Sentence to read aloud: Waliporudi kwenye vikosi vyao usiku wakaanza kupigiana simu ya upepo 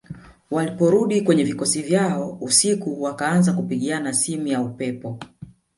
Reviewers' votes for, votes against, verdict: 1, 2, rejected